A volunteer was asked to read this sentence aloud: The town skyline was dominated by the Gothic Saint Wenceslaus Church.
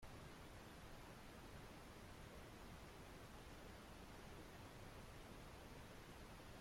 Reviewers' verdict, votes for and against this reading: rejected, 0, 2